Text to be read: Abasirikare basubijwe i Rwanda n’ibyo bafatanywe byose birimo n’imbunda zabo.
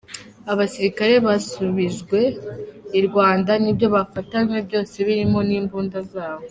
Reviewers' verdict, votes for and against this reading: accepted, 2, 0